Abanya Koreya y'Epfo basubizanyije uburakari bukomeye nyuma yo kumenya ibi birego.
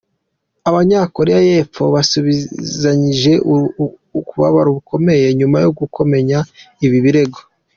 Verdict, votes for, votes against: rejected, 0, 2